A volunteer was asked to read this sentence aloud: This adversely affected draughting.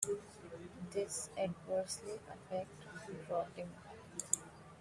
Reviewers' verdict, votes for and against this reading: accepted, 2, 1